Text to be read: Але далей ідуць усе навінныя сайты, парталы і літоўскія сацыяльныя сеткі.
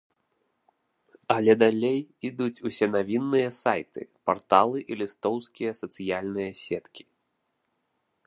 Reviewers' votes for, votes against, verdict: 0, 2, rejected